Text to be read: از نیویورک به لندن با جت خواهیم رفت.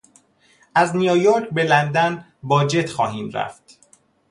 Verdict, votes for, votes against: accepted, 2, 0